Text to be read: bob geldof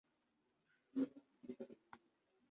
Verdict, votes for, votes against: rejected, 1, 2